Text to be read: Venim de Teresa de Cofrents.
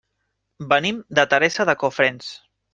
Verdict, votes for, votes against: accepted, 3, 0